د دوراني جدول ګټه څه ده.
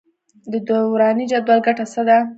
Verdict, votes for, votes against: accepted, 2, 0